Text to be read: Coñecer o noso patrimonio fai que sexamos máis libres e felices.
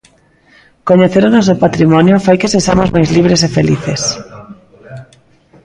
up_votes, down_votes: 2, 0